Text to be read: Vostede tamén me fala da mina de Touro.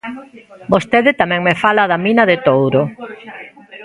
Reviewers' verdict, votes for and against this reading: rejected, 1, 2